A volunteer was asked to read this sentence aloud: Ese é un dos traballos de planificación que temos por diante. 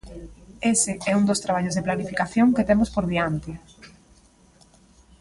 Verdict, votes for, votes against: accepted, 2, 0